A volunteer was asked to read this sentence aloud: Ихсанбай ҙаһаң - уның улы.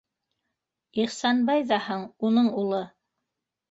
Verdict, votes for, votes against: accepted, 3, 0